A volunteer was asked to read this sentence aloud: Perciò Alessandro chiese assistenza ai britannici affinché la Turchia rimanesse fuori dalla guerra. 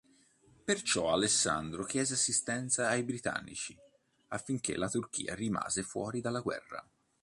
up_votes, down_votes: 0, 2